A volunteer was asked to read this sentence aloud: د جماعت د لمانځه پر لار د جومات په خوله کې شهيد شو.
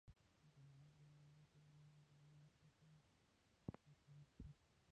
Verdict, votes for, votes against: rejected, 0, 2